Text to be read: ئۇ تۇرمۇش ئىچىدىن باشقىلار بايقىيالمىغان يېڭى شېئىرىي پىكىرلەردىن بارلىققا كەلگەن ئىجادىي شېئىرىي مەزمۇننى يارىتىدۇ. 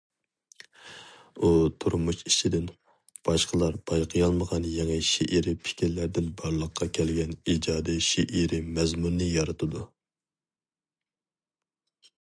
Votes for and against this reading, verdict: 2, 0, accepted